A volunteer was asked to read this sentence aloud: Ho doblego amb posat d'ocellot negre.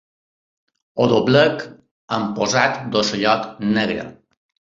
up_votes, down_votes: 1, 2